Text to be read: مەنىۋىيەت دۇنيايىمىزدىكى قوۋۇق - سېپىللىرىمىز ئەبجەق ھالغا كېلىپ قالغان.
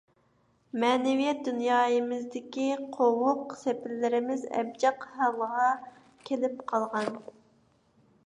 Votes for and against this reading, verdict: 2, 0, accepted